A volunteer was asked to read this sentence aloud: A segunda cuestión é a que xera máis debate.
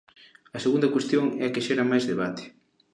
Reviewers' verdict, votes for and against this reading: rejected, 1, 2